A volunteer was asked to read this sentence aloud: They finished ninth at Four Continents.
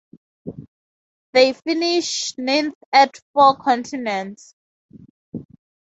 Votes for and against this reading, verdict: 2, 0, accepted